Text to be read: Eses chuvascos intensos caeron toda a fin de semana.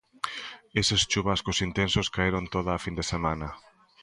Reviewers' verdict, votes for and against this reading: accepted, 3, 0